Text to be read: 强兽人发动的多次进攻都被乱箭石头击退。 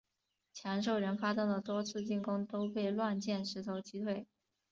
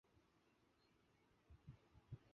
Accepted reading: first